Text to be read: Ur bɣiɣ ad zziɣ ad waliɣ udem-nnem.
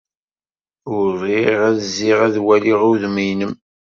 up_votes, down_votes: 1, 2